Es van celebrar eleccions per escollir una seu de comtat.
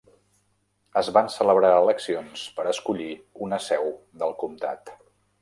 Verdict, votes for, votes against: rejected, 0, 2